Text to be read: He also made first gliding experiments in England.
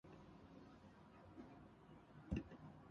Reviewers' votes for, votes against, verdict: 0, 2, rejected